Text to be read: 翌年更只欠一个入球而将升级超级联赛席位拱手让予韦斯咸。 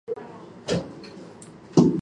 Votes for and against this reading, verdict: 0, 3, rejected